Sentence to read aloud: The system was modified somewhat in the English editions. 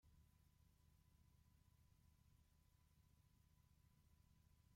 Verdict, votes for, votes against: rejected, 0, 2